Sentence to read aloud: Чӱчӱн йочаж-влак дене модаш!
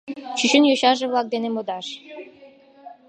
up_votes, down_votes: 1, 2